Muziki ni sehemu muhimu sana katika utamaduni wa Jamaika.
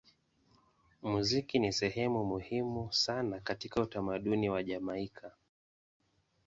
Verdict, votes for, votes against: accepted, 2, 0